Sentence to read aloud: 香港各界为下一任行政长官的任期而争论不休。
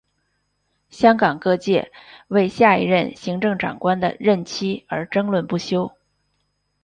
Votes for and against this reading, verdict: 0, 2, rejected